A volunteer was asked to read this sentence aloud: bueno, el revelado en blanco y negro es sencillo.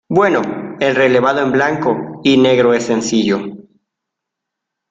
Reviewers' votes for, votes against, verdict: 0, 2, rejected